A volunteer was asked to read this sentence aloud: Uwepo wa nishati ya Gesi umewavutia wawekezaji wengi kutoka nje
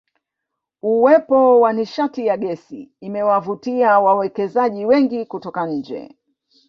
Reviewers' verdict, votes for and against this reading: rejected, 1, 2